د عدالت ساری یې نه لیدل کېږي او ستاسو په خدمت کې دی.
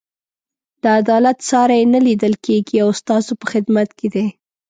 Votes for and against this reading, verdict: 2, 0, accepted